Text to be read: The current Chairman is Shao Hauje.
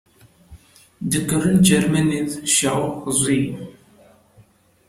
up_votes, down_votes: 1, 2